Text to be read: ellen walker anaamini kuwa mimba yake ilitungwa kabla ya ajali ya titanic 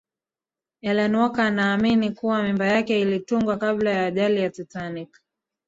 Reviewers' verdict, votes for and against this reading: rejected, 1, 2